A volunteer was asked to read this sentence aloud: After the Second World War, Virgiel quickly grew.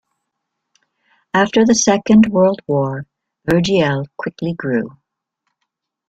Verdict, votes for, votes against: accepted, 2, 0